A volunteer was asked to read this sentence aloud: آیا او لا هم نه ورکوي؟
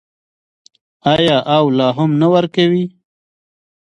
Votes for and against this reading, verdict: 2, 0, accepted